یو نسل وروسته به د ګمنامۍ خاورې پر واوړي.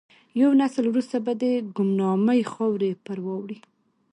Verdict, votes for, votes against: accepted, 2, 0